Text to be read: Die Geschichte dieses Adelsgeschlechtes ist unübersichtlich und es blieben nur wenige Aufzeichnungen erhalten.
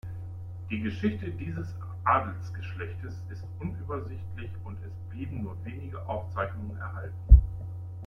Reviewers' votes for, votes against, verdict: 2, 0, accepted